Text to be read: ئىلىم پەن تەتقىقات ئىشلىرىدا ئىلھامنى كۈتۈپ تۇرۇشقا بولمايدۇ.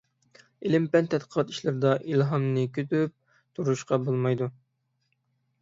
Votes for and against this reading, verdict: 0, 6, rejected